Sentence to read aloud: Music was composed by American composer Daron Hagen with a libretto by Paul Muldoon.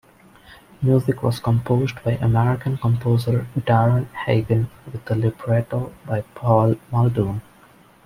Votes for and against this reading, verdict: 2, 0, accepted